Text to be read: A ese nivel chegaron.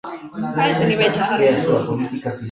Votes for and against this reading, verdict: 1, 2, rejected